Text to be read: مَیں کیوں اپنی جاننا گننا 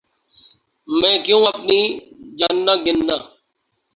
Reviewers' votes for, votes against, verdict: 0, 2, rejected